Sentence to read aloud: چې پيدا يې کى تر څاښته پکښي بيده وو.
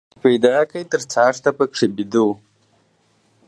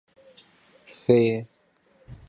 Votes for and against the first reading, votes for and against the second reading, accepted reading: 2, 0, 0, 2, first